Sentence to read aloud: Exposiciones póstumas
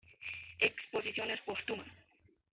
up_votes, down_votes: 1, 2